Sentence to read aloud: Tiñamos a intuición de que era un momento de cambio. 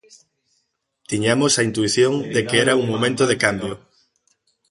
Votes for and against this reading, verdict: 1, 2, rejected